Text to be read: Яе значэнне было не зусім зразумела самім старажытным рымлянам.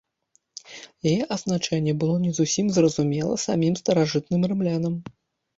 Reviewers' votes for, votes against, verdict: 1, 2, rejected